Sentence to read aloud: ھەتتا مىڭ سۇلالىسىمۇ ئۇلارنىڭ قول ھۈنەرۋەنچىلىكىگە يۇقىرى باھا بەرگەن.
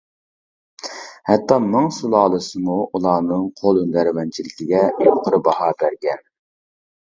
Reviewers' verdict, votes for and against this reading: rejected, 0, 2